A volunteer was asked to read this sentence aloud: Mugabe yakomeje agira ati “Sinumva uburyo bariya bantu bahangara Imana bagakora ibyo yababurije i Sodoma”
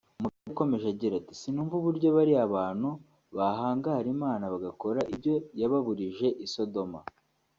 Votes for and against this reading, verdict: 1, 2, rejected